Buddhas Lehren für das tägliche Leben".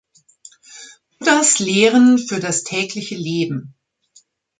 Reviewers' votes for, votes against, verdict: 1, 2, rejected